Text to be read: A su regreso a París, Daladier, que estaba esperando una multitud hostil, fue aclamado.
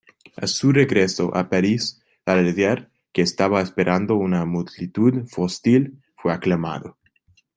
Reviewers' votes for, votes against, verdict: 0, 2, rejected